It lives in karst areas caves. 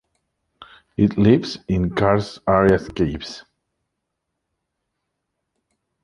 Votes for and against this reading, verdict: 2, 1, accepted